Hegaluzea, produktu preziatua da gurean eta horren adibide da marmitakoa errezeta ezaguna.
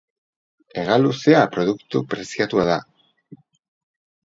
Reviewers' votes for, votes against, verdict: 0, 4, rejected